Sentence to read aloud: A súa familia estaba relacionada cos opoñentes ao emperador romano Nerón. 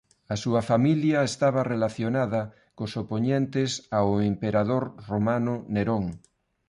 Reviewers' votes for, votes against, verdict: 2, 0, accepted